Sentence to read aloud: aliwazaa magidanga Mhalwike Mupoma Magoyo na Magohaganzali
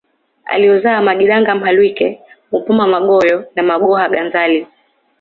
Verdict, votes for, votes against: accepted, 2, 0